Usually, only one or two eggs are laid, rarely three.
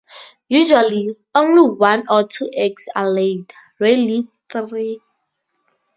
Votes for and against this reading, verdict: 2, 0, accepted